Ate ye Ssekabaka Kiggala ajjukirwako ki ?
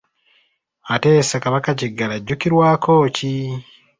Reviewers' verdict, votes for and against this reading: accepted, 2, 0